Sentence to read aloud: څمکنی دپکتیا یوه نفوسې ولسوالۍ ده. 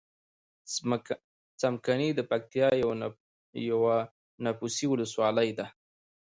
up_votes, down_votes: 2, 0